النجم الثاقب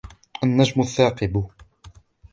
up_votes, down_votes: 2, 0